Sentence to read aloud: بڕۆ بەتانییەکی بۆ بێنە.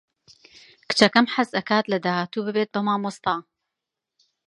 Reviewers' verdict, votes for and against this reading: rejected, 1, 2